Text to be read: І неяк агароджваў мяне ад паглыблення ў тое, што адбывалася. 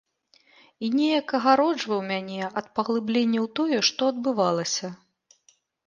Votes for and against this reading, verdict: 2, 0, accepted